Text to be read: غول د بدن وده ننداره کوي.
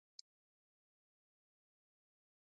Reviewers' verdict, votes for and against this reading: rejected, 0, 2